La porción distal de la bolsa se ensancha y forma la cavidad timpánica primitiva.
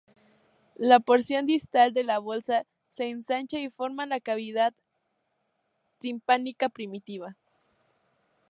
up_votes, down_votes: 0, 2